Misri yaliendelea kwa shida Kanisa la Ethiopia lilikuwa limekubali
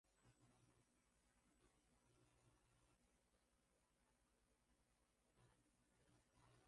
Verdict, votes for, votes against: rejected, 0, 2